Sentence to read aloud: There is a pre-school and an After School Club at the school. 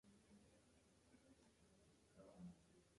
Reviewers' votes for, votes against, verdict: 0, 2, rejected